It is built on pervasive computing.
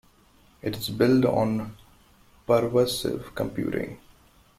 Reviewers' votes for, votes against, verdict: 0, 2, rejected